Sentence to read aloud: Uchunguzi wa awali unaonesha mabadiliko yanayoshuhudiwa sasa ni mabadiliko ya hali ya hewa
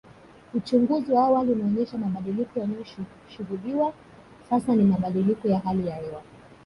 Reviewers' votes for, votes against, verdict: 1, 2, rejected